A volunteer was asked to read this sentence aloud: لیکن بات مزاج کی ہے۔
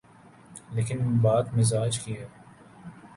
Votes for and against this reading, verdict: 14, 0, accepted